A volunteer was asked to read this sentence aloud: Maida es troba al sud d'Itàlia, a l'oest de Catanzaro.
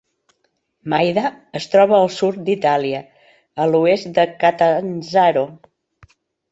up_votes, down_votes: 3, 0